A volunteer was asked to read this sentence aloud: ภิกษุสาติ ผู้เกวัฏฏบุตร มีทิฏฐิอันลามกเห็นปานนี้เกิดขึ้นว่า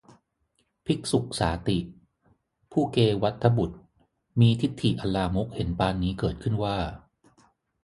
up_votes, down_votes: 3, 0